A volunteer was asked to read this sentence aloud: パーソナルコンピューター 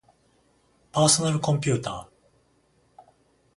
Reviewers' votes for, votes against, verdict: 7, 7, rejected